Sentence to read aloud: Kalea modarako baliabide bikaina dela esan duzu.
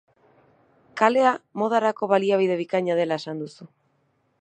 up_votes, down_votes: 4, 0